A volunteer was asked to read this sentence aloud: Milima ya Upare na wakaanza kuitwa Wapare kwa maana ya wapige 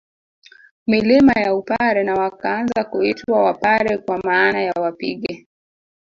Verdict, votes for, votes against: rejected, 1, 2